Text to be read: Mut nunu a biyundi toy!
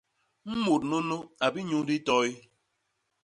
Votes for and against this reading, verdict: 0, 2, rejected